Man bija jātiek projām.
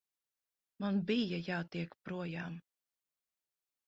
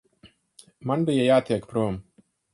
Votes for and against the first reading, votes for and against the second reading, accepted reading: 4, 0, 0, 4, first